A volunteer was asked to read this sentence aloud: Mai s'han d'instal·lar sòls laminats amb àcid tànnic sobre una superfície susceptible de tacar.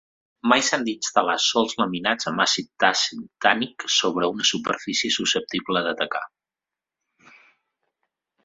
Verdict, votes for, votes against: rejected, 0, 2